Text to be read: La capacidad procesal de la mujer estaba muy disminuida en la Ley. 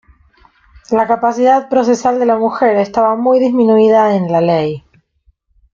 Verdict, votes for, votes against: accepted, 2, 0